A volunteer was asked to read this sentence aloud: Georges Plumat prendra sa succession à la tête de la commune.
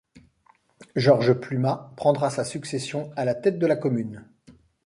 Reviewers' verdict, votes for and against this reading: accepted, 2, 0